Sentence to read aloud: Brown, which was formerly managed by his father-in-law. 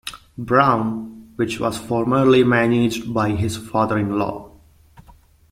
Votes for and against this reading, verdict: 2, 0, accepted